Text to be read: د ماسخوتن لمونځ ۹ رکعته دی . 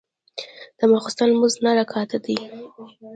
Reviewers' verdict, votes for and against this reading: rejected, 0, 2